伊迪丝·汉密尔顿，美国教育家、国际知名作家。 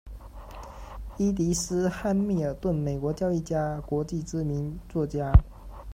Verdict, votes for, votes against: accepted, 2, 0